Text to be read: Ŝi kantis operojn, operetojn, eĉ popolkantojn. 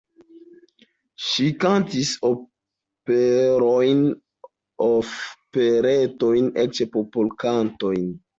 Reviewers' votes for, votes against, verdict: 0, 2, rejected